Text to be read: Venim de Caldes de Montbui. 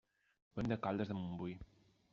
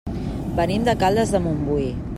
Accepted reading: second